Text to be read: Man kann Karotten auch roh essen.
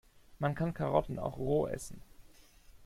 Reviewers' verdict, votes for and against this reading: accepted, 2, 0